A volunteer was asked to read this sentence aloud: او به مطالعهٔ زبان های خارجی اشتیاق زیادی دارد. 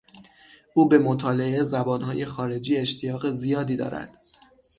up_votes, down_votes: 6, 0